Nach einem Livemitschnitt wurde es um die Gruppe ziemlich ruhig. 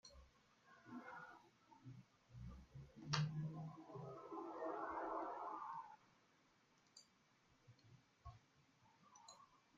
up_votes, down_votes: 0, 2